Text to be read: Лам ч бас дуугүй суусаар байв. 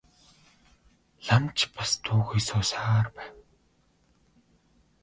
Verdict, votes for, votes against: rejected, 1, 2